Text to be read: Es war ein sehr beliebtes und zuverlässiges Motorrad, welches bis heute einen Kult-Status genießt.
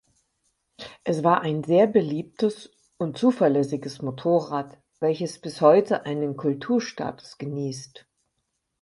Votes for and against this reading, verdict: 0, 4, rejected